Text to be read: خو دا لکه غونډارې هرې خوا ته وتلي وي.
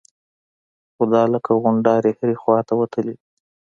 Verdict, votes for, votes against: accepted, 2, 0